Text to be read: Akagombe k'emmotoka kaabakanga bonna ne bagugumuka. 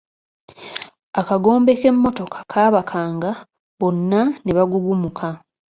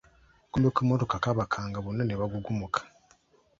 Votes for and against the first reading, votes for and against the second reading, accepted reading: 2, 1, 0, 2, first